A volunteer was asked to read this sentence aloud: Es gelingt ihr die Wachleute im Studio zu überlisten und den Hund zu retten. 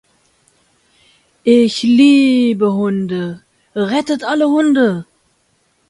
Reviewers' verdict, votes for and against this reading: rejected, 0, 2